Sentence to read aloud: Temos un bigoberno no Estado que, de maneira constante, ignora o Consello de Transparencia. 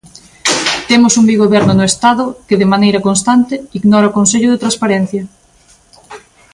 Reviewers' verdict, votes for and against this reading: accepted, 2, 0